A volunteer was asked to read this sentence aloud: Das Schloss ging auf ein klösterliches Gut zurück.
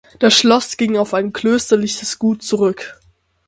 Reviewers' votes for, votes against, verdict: 6, 0, accepted